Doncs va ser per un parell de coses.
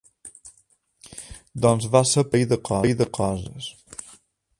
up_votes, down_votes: 0, 3